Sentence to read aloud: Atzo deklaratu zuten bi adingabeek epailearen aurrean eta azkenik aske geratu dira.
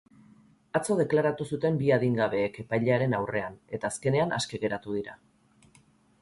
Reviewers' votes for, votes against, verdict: 0, 2, rejected